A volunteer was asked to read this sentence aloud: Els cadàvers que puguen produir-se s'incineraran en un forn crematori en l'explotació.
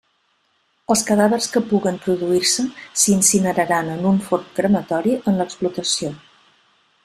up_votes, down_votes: 2, 0